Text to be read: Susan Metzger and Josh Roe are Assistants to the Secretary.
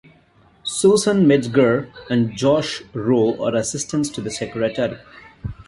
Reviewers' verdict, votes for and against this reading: rejected, 1, 2